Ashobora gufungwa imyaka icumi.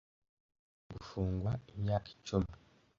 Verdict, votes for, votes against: rejected, 1, 2